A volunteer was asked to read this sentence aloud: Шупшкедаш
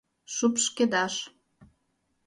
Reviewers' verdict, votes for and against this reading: accepted, 2, 0